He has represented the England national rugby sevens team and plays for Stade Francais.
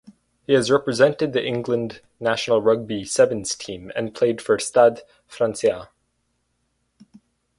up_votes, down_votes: 2, 2